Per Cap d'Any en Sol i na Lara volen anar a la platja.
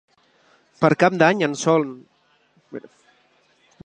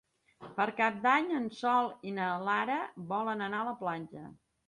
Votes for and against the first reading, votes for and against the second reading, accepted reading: 0, 2, 4, 0, second